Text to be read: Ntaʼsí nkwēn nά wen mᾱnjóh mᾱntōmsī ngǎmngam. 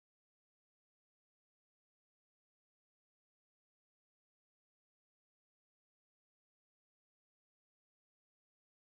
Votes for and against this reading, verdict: 2, 3, rejected